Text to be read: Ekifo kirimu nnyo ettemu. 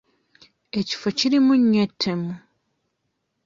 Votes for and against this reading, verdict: 2, 0, accepted